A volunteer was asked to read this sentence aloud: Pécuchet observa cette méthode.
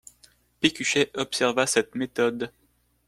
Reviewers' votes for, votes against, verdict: 2, 0, accepted